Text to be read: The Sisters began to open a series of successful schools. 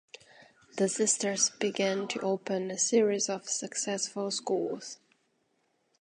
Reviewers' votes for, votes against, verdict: 2, 0, accepted